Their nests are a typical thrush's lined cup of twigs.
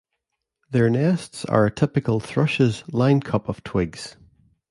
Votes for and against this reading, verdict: 2, 0, accepted